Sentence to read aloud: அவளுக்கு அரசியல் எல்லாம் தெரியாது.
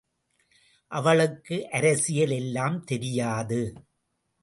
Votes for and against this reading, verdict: 2, 0, accepted